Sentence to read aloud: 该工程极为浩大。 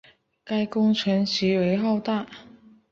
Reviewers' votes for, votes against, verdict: 4, 1, accepted